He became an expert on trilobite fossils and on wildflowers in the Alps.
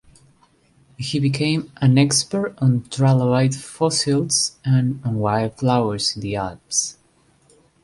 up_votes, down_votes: 2, 1